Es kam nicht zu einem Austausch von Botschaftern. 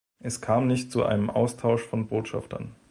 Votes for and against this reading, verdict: 2, 0, accepted